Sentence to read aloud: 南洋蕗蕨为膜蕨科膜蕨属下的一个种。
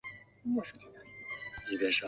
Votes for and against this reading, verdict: 0, 5, rejected